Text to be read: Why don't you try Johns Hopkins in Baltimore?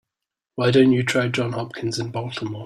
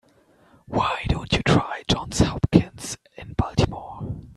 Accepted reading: second